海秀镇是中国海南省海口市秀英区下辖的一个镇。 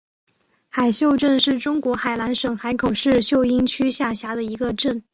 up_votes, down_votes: 2, 0